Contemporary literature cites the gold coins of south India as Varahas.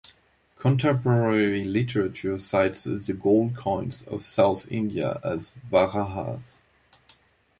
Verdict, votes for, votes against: accepted, 2, 0